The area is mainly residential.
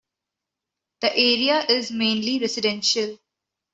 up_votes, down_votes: 2, 0